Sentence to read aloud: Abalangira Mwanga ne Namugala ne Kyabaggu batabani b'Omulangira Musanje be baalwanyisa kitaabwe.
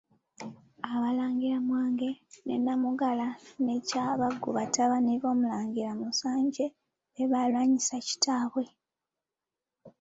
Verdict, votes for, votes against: rejected, 2, 3